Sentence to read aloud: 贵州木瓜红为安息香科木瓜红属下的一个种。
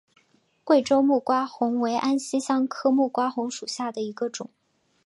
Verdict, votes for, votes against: accepted, 7, 0